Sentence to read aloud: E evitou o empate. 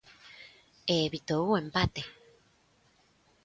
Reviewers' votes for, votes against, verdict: 2, 0, accepted